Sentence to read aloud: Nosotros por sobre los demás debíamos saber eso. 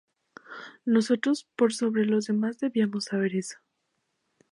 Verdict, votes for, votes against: accepted, 4, 0